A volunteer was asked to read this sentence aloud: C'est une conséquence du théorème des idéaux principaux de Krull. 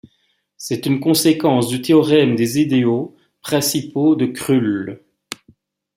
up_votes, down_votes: 2, 0